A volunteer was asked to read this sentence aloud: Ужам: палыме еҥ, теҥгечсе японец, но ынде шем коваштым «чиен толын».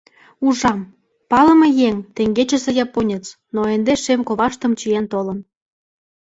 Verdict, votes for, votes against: accepted, 2, 0